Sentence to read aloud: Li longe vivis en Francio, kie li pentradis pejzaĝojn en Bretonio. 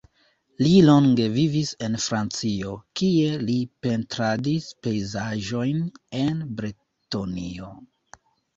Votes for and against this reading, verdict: 2, 0, accepted